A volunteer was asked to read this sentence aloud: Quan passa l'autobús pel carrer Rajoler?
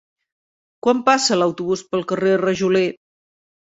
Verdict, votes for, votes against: accepted, 3, 0